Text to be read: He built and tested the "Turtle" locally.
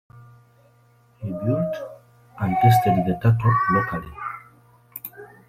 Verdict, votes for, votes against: accepted, 2, 0